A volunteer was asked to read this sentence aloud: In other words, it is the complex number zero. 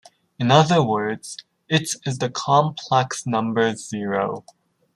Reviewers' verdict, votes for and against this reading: rejected, 1, 2